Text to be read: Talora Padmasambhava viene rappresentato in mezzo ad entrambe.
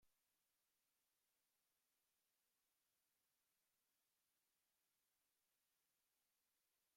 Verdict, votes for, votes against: rejected, 0, 2